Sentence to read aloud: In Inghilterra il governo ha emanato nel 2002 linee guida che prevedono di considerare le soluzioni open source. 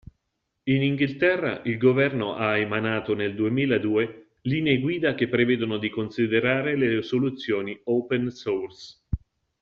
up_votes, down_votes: 0, 2